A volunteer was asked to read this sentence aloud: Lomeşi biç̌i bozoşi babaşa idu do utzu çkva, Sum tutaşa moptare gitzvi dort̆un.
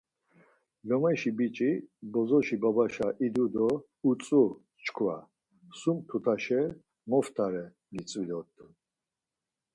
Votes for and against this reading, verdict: 4, 0, accepted